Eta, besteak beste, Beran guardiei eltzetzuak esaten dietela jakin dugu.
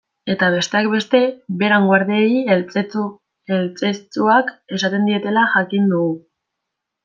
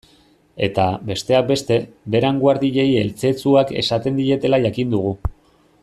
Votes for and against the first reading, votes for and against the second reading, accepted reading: 0, 2, 2, 0, second